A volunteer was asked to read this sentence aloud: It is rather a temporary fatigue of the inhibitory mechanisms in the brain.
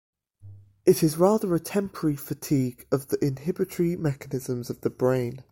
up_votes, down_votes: 0, 2